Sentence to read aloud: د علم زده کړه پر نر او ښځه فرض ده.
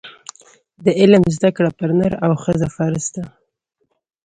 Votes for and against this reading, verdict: 0, 2, rejected